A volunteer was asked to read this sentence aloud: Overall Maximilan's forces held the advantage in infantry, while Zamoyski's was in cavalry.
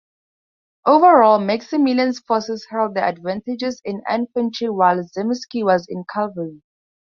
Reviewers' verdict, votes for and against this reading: rejected, 0, 2